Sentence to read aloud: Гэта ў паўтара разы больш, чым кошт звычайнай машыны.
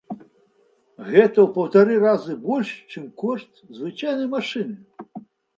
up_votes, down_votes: 0, 3